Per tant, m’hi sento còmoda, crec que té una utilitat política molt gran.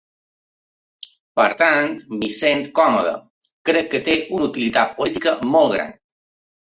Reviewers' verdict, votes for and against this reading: rejected, 1, 2